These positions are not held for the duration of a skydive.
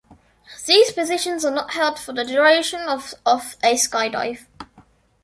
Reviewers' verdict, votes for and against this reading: accepted, 2, 1